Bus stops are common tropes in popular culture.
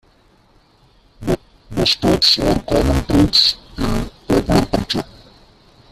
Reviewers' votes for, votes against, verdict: 0, 2, rejected